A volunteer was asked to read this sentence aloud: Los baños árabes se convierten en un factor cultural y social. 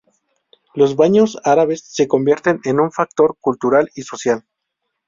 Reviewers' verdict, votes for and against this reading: accepted, 2, 0